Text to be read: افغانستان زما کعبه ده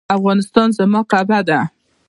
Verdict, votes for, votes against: rejected, 1, 2